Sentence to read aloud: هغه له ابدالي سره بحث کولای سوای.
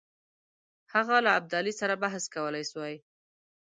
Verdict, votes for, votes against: accepted, 2, 0